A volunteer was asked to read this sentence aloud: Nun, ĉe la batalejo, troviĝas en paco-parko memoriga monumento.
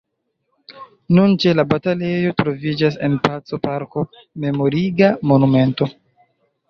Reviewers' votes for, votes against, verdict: 2, 0, accepted